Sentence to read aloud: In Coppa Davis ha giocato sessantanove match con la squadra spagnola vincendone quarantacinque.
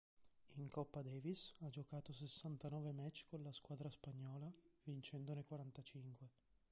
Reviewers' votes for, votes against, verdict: 1, 2, rejected